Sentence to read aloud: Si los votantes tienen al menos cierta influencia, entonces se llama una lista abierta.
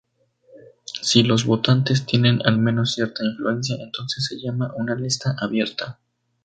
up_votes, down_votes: 2, 0